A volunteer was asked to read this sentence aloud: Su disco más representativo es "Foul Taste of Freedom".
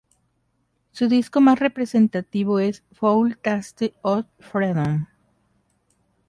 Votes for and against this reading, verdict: 2, 0, accepted